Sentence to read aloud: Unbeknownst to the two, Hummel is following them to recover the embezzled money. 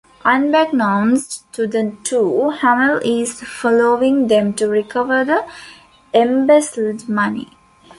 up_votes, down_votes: 3, 0